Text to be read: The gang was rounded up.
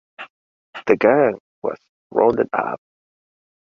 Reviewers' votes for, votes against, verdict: 2, 0, accepted